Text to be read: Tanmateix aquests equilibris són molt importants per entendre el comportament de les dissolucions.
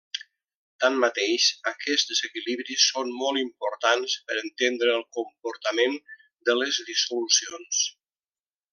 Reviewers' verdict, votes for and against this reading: rejected, 1, 2